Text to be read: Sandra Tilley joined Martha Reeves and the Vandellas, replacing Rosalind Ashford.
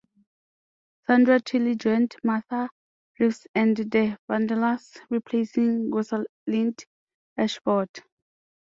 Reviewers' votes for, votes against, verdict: 2, 0, accepted